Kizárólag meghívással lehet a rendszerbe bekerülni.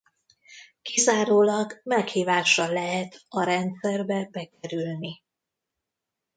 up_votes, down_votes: 0, 2